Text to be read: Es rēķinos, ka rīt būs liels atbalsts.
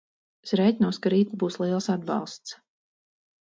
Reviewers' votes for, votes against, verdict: 2, 2, rejected